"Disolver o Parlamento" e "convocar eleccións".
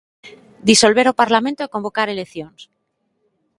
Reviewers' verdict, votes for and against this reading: accepted, 2, 0